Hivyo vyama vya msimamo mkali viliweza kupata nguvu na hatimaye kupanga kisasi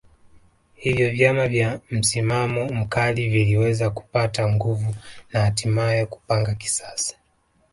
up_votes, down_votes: 1, 2